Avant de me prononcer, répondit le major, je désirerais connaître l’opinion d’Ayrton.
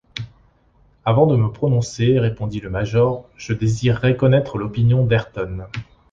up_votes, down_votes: 1, 2